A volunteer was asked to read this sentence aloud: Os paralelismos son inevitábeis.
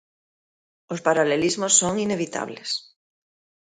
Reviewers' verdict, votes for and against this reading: rejected, 0, 2